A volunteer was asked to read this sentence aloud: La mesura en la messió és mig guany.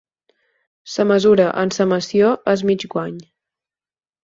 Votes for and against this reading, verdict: 0, 4, rejected